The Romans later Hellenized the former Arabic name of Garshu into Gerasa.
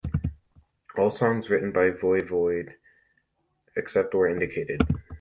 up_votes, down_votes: 1, 2